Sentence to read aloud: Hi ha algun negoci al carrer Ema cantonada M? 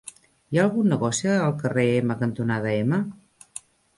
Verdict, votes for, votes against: rejected, 0, 2